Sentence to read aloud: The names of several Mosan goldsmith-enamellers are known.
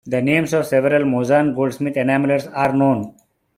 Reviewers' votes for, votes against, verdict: 1, 2, rejected